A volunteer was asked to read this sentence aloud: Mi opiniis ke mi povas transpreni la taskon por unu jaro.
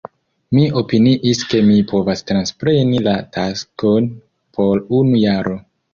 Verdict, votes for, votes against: accepted, 2, 0